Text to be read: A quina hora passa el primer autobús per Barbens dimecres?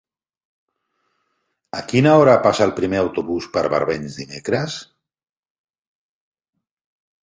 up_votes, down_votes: 5, 0